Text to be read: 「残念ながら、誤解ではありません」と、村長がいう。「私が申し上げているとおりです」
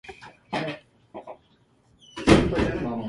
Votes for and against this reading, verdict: 1, 2, rejected